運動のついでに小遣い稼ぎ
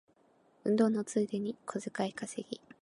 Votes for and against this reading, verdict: 4, 0, accepted